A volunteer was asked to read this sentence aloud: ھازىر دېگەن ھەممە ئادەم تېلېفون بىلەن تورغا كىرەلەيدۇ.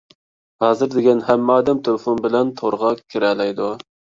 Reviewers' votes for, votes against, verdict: 2, 0, accepted